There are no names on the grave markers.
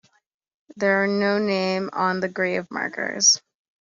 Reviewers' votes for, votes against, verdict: 2, 1, accepted